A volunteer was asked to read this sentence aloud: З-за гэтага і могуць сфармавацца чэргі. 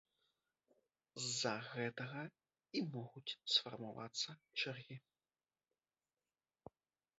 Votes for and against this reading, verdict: 0, 2, rejected